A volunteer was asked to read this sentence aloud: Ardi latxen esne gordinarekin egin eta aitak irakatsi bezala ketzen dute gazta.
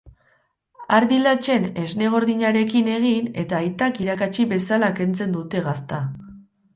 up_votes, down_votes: 0, 2